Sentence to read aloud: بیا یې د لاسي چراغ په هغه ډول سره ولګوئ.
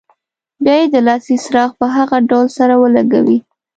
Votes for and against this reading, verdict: 1, 2, rejected